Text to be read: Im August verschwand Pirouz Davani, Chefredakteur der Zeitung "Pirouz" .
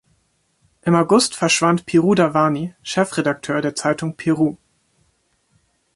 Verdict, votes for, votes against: accepted, 3, 0